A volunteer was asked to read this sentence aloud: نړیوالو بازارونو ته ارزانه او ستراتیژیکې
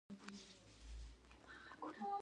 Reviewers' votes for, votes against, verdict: 1, 2, rejected